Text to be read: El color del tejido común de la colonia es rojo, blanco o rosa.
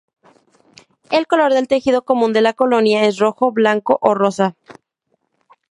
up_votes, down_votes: 2, 2